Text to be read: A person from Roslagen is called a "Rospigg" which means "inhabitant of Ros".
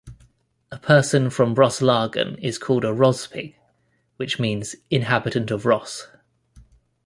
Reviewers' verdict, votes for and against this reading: accepted, 2, 0